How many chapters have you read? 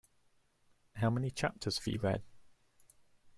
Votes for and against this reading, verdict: 2, 0, accepted